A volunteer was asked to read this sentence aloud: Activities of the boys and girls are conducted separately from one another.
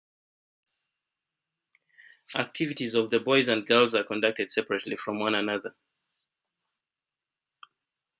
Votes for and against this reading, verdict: 2, 1, accepted